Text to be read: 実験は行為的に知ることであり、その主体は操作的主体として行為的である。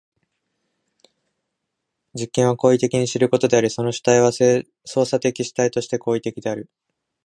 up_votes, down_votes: 0, 2